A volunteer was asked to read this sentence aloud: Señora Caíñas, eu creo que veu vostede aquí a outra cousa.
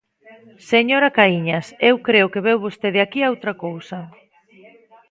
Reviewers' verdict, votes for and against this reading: rejected, 1, 2